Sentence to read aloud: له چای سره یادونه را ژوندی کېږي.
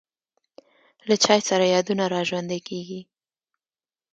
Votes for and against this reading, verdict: 1, 2, rejected